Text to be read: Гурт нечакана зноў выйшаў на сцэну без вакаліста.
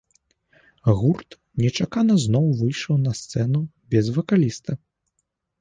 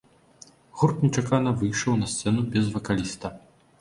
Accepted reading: first